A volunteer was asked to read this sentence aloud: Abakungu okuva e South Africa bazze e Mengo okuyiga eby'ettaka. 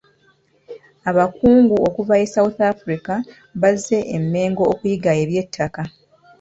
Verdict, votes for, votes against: accepted, 2, 0